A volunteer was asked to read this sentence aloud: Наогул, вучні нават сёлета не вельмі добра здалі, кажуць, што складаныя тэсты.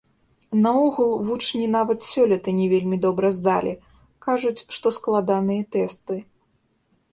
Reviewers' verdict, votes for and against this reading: rejected, 1, 2